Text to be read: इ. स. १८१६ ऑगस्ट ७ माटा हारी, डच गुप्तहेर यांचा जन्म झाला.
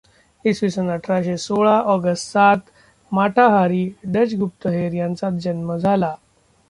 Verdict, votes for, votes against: rejected, 0, 2